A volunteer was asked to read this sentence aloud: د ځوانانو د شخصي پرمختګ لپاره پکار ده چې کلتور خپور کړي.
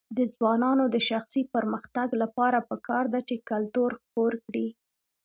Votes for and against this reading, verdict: 2, 0, accepted